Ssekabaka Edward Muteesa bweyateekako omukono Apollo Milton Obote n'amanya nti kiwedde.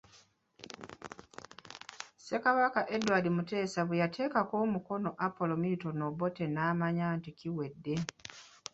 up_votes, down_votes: 2, 0